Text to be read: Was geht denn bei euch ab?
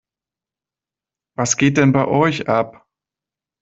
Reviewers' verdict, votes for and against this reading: accepted, 2, 0